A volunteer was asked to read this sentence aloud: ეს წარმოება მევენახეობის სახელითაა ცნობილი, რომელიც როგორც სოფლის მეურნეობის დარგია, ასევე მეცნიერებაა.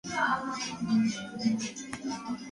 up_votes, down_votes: 0, 2